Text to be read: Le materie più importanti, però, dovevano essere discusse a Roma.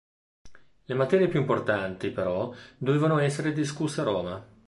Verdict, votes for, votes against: accepted, 2, 0